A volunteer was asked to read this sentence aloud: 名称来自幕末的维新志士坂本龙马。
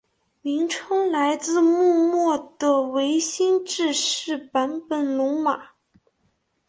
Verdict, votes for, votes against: accepted, 2, 0